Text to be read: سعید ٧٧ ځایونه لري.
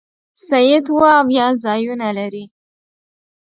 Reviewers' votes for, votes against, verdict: 0, 2, rejected